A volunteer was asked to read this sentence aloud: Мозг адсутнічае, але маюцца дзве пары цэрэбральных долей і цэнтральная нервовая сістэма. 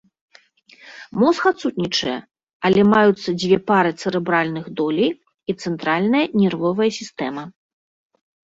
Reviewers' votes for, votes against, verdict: 2, 0, accepted